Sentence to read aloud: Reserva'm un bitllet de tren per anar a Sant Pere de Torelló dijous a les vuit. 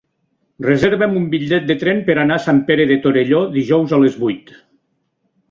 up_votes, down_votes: 3, 0